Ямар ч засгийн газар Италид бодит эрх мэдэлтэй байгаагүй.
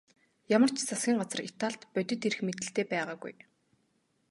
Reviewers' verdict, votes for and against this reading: accepted, 2, 0